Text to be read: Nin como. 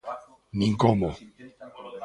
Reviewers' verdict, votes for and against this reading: rejected, 1, 2